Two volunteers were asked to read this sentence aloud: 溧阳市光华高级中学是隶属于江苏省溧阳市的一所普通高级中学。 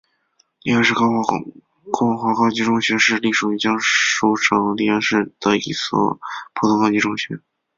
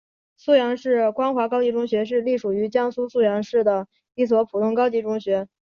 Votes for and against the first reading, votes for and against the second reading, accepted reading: 0, 2, 2, 0, second